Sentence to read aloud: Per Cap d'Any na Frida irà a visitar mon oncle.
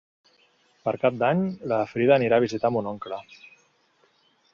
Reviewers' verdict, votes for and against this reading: rejected, 1, 3